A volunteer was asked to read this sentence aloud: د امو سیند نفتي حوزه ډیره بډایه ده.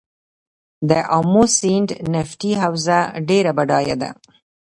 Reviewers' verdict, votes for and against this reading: rejected, 1, 2